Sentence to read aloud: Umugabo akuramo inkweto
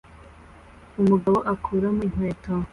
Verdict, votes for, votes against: accepted, 2, 0